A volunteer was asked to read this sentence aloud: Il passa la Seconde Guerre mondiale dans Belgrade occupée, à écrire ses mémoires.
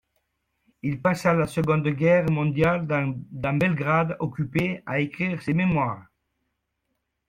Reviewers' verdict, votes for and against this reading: rejected, 1, 2